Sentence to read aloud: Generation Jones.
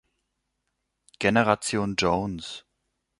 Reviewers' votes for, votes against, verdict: 2, 0, accepted